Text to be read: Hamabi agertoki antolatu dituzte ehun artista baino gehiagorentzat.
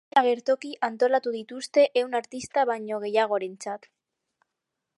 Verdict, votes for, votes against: rejected, 0, 2